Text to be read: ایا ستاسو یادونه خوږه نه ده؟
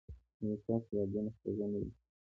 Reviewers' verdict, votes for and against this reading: rejected, 1, 2